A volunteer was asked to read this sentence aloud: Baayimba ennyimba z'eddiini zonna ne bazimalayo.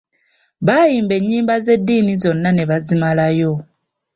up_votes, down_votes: 2, 0